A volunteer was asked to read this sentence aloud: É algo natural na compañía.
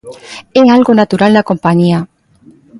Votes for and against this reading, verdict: 1, 2, rejected